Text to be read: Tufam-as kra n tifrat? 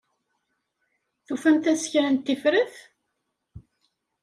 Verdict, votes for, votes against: rejected, 1, 2